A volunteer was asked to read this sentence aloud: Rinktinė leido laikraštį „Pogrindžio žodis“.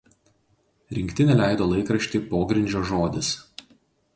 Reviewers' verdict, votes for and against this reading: accepted, 2, 0